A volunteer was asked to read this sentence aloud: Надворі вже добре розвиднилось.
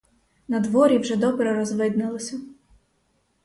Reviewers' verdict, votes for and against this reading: rejected, 2, 4